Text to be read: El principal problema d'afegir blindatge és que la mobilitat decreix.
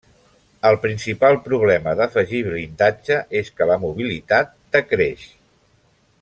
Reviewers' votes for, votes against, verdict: 2, 0, accepted